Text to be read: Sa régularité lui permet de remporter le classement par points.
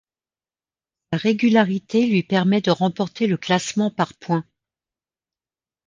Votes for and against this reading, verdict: 2, 1, accepted